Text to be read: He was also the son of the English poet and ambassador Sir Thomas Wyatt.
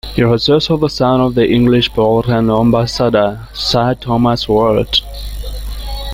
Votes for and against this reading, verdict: 2, 1, accepted